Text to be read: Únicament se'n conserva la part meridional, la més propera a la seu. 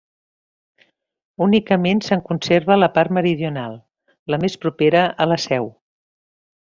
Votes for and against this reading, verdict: 3, 0, accepted